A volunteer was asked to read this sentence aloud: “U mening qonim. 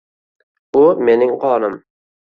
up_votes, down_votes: 1, 2